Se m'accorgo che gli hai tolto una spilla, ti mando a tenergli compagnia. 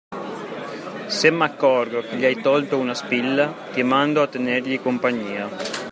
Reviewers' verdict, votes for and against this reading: accepted, 2, 0